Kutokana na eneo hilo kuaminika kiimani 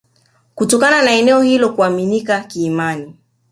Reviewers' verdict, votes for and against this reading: accepted, 2, 0